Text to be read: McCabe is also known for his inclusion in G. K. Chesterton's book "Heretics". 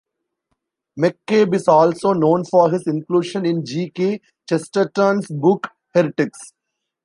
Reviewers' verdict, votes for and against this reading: accepted, 2, 1